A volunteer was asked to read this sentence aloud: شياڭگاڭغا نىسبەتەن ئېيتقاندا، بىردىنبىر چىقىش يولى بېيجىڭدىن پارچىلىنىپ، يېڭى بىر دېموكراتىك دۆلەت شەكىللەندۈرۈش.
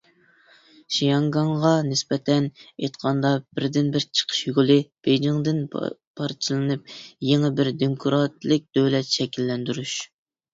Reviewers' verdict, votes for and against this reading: rejected, 0, 2